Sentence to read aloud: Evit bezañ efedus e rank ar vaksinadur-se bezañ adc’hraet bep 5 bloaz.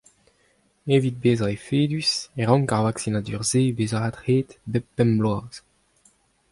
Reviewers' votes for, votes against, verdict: 0, 2, rejected